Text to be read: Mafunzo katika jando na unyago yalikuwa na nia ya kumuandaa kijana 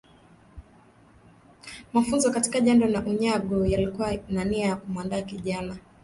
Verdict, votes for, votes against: rejected, 1, 2